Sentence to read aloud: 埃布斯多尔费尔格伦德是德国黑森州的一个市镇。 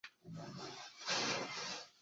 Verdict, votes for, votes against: rejected, 2, 3